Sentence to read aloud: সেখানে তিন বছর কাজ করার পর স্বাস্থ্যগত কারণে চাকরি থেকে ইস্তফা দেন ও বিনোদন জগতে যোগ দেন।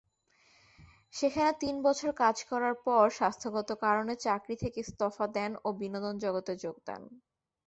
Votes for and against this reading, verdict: 2, 0, accepted